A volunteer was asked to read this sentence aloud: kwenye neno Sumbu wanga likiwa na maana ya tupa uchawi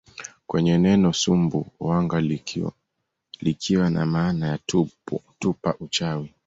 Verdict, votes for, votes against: rejected, 0, 2